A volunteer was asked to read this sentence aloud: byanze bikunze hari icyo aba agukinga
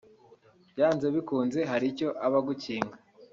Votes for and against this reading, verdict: 2, 0, accepted